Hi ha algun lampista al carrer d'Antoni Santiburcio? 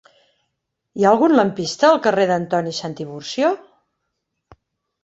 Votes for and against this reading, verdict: 5, 0, accepted